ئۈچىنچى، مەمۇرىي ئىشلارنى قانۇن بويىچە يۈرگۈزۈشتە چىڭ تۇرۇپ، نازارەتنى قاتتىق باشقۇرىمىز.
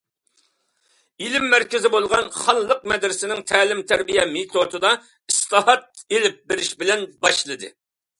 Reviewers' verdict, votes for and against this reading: rejected, 0, 2